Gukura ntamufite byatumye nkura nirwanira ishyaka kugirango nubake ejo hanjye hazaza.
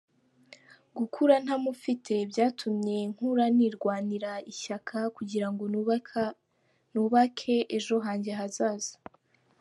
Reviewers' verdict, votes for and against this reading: rejected, 0, 2